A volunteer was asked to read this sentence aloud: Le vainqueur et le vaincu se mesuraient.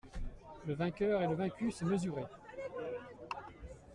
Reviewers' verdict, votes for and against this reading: rejected, 1, 2